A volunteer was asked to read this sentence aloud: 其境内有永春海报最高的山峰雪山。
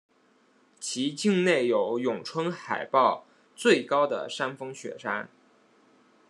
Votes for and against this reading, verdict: 2, 0, accepted